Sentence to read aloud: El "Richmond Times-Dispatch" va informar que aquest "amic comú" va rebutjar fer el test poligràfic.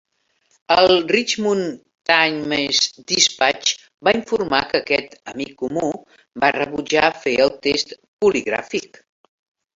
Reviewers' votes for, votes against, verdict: 3, 1, accepted